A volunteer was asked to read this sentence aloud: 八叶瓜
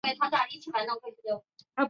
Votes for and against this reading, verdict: 0, 2, rejected